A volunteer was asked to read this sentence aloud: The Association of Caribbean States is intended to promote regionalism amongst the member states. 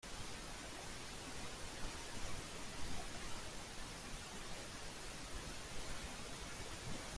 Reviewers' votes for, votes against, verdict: 0, 2, rejected